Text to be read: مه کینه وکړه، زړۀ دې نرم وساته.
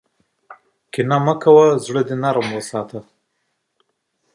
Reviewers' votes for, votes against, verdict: 0, 2, rejected